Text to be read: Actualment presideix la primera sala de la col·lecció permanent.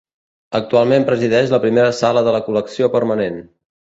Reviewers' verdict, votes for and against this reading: accepted, 2, 0